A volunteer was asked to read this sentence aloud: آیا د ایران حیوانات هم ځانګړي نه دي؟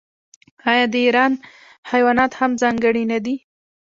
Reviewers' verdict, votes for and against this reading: rejected, 1, 2